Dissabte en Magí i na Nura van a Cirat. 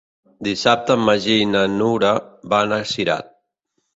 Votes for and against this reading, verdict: 3, 0, accepted